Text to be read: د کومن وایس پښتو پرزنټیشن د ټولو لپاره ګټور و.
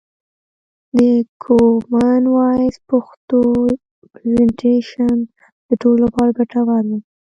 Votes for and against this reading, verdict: 0, 2, rejected